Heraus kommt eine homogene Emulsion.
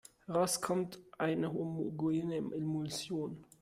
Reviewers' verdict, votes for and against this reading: rejected, 0, 2